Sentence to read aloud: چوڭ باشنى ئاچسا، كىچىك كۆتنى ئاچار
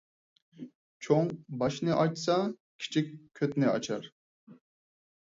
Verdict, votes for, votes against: accepted, 4, 0